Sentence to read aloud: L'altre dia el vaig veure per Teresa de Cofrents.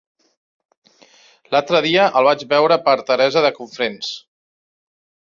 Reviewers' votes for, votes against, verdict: 2, 1, accepted